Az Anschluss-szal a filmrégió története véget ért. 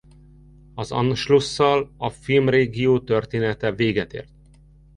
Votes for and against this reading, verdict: 2, 1, accepted